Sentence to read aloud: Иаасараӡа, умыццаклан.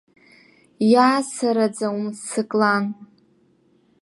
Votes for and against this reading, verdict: 0, 2, rejected